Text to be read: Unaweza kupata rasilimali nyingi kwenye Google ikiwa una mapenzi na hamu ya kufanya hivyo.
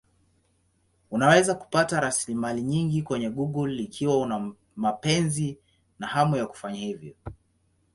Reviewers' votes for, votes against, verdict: 2, 0, accepted